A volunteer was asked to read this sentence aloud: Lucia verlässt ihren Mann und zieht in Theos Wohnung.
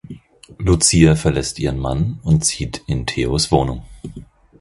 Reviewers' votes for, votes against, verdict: 4, 0, accepted